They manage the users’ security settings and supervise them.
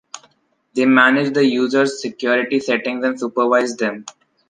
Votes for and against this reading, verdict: 2, 0, accepted